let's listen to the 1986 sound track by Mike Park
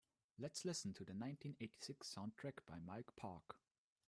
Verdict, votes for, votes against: rejected, 0, 2